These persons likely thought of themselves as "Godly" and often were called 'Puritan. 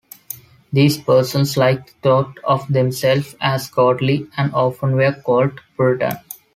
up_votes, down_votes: 0, 2